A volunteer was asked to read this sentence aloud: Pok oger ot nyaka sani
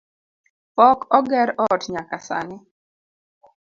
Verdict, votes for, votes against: accepted, 2, 0